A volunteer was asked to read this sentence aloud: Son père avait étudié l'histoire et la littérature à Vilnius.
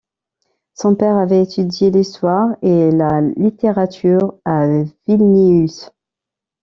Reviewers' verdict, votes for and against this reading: rejected, 0, 2